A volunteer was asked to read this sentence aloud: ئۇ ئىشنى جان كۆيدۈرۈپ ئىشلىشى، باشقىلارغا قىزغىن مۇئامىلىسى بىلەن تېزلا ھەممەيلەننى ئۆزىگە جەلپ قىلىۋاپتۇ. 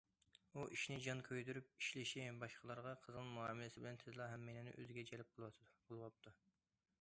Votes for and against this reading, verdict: 0, 2, rejected